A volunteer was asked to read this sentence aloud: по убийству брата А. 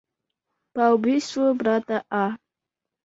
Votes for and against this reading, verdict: 2, 0, accepted